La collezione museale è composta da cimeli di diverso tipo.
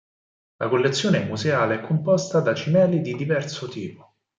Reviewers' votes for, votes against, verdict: 4, 0, accepted